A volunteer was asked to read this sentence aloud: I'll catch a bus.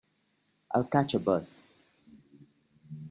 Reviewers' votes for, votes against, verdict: 2, 0, accepted